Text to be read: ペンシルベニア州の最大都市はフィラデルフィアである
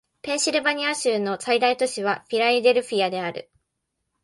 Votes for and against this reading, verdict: 0, 2, rejected